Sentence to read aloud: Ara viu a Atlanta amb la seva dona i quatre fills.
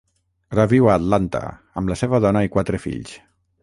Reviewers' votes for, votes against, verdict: 3, 3, rejected